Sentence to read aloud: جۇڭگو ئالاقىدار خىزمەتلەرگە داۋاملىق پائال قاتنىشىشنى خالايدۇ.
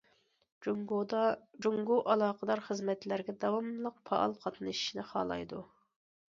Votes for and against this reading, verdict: 0, 2, rejected